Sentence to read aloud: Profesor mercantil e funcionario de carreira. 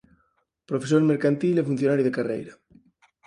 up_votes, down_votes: 4, 0